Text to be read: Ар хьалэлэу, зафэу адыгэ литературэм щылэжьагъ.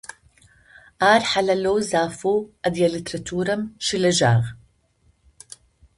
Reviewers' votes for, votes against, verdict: 2, 0, accepted